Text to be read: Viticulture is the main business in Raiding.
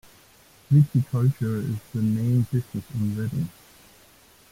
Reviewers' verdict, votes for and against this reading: rejected, 1, 2